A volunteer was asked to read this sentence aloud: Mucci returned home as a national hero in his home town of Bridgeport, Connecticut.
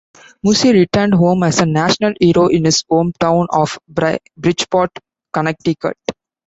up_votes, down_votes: 0, 2